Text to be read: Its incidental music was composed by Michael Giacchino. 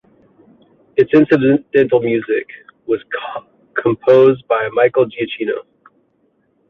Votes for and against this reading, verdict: 0, 2, rejected